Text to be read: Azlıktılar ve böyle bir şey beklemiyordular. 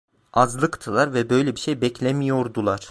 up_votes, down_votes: 1, 2